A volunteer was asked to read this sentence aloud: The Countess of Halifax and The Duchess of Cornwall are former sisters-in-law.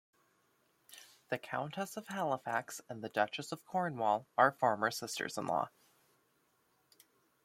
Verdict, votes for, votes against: rejected, 0, 2